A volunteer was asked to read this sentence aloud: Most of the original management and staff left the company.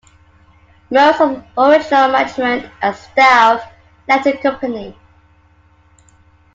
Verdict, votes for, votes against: accepted, 2, 0